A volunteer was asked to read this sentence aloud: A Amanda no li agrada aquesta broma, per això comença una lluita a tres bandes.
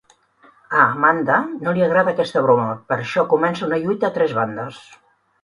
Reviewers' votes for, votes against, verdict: 2, 0, accepted